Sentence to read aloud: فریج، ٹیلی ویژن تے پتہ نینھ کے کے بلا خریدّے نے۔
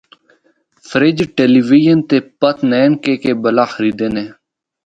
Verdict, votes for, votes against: rejected, 0, 2